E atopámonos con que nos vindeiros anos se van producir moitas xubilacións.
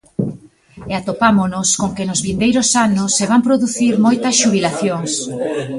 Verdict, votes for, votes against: accepted, 2, 1